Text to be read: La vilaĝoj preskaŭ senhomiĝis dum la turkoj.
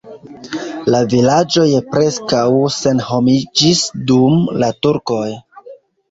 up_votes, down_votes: 2, 0